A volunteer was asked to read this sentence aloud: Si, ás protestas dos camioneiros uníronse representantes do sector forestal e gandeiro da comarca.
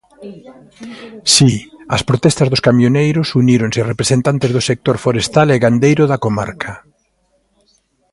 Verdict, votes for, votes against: accepted, 2, 0